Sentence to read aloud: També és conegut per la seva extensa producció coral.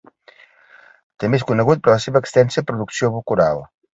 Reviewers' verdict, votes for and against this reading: rejected, 0, 2